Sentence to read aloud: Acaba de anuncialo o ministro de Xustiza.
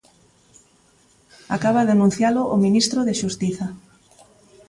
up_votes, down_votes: 2, 0